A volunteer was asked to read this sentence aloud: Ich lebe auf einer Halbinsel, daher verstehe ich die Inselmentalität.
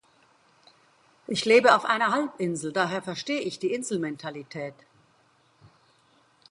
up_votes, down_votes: 2, 0